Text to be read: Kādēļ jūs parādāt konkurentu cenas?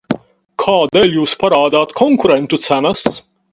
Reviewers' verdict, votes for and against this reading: rejected, 0, 4